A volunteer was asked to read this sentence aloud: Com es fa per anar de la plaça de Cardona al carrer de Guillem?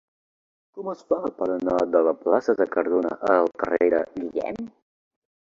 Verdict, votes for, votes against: rejected, 2, 3